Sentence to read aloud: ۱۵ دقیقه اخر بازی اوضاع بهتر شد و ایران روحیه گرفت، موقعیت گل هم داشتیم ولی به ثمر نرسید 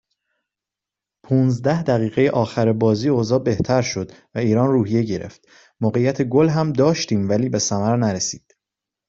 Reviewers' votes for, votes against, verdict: 0, 2, rejected